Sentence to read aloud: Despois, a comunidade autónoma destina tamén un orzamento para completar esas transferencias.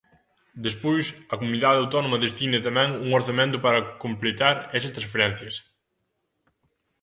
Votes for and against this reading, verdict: 3, 0, accepted